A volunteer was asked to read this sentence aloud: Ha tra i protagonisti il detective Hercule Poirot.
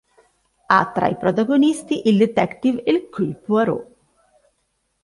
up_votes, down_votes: 3, 0